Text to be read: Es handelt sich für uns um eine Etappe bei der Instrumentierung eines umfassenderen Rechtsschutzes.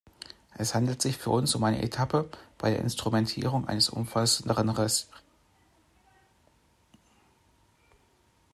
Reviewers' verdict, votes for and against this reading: rejected, 0, 2